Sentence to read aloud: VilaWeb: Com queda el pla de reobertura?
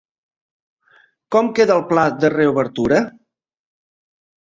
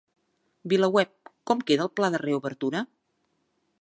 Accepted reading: second